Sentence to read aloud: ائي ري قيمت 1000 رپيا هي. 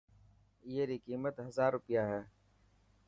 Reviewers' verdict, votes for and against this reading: rejected, 0, 2